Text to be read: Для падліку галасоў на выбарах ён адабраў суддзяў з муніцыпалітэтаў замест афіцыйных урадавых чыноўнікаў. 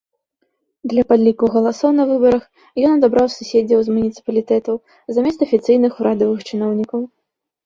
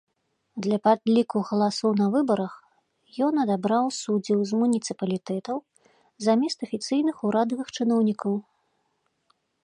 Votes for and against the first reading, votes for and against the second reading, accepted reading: 1, 2, 2, 0, second